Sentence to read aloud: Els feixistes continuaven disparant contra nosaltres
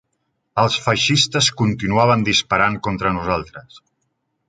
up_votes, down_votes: 3, 0